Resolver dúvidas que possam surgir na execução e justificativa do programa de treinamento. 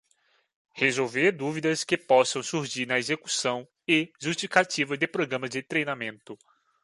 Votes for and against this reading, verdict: 2, 1, accepted